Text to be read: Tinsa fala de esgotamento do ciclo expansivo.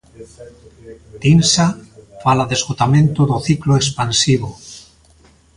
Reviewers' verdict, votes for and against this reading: accepted, 3, 0